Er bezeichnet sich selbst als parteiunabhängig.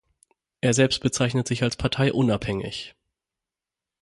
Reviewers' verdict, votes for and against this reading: rejected, 3, 6